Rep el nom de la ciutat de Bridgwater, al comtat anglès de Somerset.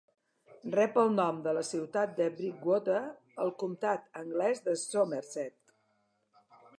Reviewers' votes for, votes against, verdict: 2, 0, accepted